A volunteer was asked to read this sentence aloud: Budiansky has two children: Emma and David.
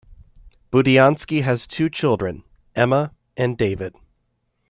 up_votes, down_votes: 2, 0